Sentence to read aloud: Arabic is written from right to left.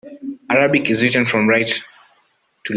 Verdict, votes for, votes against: rejected, 0, 3